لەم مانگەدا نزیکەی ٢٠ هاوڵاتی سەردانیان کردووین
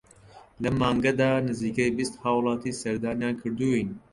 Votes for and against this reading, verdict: 0, 2, rejected